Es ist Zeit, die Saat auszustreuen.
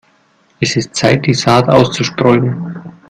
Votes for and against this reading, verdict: 2, 0, accepted